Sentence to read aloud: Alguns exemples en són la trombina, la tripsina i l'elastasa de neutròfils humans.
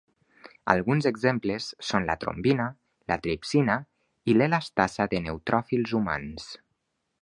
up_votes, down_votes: 1, 2